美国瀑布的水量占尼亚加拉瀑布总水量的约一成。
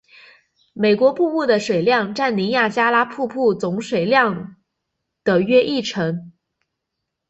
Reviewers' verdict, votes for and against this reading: accepted, 3, 0